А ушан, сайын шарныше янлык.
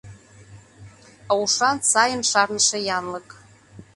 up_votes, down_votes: 2, 0